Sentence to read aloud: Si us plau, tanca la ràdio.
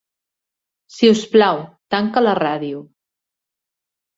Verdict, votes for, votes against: accepted, 2, 0